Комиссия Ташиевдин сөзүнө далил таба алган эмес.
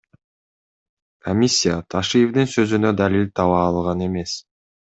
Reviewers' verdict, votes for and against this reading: accepted, 2, 0